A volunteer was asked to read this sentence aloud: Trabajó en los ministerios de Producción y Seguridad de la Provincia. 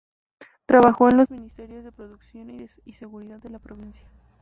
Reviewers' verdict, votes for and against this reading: rejected, 0, 2